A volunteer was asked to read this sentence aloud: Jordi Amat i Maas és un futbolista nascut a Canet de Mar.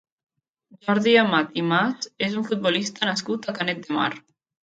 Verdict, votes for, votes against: rejected, 1, 2